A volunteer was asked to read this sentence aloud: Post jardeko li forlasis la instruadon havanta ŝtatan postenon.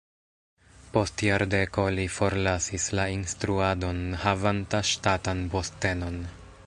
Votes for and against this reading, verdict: 2, 1, accepted